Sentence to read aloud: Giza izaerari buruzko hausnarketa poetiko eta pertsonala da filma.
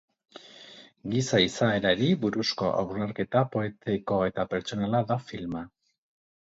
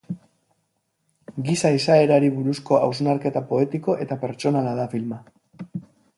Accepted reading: second